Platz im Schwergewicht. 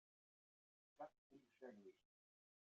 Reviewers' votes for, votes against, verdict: 0, 3, rejected